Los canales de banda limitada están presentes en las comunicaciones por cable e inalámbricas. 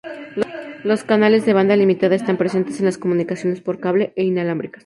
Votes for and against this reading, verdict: 2, 0, accepted